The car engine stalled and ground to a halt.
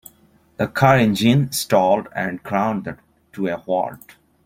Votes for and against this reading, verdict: 2, 1, accepted